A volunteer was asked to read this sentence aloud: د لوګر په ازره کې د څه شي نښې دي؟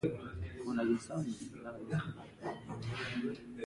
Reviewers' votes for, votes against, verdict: 1, 2, rejected